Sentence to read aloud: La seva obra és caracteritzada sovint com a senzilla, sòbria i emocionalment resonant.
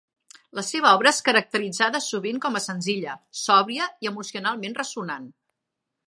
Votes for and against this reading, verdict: 1, 2, rejected